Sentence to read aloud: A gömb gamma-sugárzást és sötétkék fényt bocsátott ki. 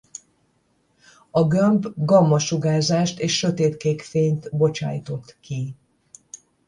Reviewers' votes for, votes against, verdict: 0, 10, rejected